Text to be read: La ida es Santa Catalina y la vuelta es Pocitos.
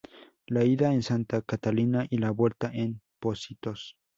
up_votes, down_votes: 0, 2